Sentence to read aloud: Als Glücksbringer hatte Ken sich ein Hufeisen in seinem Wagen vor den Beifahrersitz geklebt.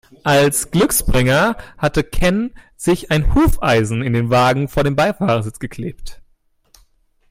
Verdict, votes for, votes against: rejected, 1, 2